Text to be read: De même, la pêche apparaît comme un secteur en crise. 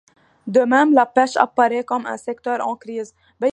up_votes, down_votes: 1, 2